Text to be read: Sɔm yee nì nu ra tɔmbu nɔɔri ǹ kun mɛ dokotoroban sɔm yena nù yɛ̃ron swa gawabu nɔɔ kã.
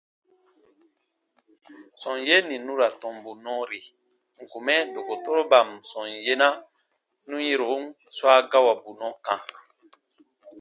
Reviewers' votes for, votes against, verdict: 2, 0, accepted